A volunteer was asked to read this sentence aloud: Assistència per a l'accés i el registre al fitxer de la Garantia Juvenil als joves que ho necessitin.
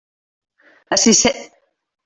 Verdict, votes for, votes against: rejected, 0, 2